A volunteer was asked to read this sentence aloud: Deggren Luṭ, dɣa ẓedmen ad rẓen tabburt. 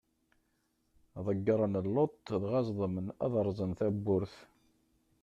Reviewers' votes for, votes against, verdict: 0, 2, rejected